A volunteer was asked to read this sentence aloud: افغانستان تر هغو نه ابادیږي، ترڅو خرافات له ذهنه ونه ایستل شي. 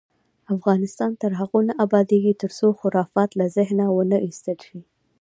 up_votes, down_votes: 2, 0